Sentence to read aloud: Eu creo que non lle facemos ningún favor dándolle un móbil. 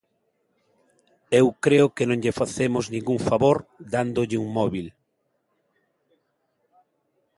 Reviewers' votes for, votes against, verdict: 2, 0, accepted